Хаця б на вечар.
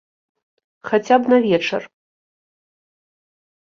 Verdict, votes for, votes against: accepted, 2, 0